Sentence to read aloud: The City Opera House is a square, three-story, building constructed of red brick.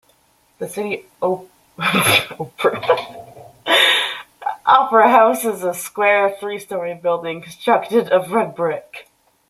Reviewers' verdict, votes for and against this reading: rejected, 0, 2